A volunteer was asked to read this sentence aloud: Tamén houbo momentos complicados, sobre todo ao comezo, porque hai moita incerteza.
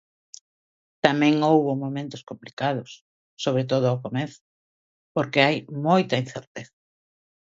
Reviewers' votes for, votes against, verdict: 2, 0, accepted